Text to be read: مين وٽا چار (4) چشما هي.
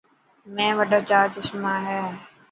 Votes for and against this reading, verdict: 0, 2, rejected